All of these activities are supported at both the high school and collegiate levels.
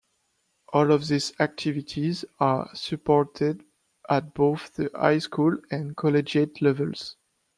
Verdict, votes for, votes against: accepted, 2, 0